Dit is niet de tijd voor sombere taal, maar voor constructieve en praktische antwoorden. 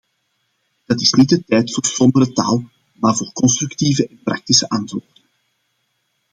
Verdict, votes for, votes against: rejected, 0, 2